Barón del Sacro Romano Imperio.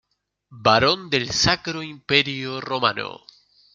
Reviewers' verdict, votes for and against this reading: rejected, 1, 2